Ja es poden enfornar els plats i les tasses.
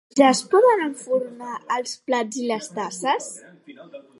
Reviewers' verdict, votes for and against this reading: accepted, 2, 0